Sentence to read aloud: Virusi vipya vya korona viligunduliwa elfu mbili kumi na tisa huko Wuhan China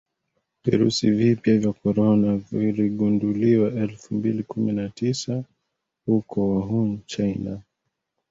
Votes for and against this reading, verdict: 2, 0, accepted